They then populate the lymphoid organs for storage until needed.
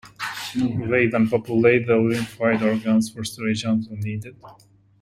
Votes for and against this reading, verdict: 2, 1, accepted